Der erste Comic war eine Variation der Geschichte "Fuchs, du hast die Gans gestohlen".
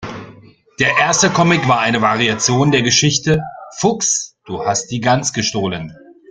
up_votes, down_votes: 2, 0